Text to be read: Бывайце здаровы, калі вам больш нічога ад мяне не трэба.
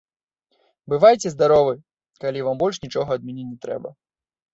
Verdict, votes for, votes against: accepted, 3, 0